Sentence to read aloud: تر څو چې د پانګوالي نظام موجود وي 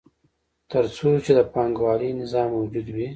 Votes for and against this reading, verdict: 2, 0, accepted